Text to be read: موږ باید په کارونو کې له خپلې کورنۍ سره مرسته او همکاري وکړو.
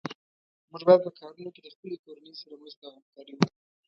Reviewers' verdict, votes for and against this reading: rejected, 1, 2